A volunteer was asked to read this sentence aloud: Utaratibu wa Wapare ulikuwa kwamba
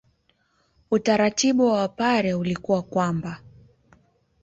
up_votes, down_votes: 2, 1